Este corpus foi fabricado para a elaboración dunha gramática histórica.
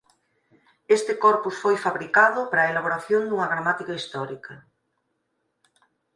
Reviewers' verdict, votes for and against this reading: rejected, 2, 4